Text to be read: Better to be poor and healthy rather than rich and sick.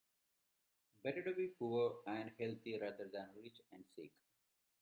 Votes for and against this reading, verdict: 0, 2, rejected